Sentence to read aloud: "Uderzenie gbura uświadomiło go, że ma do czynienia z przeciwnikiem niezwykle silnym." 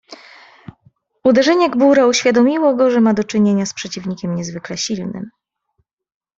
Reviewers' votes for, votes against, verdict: 2, 0, accepted